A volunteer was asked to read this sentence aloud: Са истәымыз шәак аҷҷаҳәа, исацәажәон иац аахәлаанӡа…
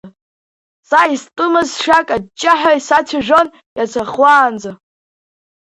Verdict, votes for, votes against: rejected, 0, 2